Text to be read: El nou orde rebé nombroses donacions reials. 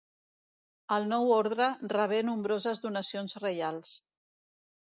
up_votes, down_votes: 0, 2